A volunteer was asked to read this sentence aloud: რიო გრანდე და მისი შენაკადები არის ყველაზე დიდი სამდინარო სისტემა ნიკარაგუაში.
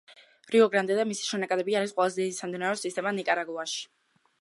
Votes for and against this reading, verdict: 1, 2, rejected